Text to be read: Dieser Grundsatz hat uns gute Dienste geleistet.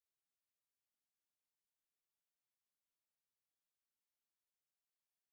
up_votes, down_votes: 0, 2